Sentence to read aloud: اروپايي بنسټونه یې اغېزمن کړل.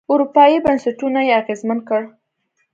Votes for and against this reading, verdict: 2, 0, accepted